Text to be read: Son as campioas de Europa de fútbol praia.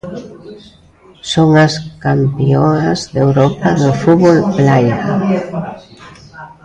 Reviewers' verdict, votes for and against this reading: rejected, 0, 2